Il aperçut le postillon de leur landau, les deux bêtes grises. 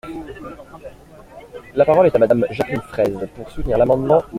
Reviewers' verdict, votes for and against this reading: rejected, 0, 2